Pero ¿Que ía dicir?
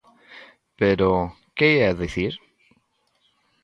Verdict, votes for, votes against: accepted, 2, 0